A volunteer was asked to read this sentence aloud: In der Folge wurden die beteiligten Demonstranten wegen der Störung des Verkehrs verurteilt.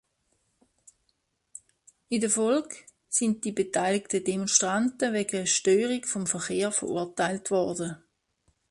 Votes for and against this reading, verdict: 0, 2, rejected